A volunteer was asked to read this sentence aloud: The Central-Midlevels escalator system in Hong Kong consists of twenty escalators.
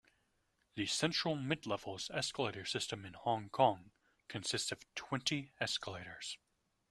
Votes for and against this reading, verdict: 2, 0, accepted